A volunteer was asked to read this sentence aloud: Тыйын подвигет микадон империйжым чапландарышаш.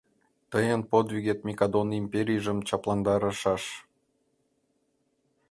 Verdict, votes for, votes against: rejected, 1, 2